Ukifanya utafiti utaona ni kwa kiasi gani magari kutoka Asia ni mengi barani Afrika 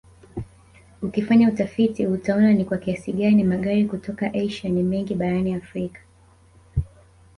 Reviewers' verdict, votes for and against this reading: accepted, 3, 0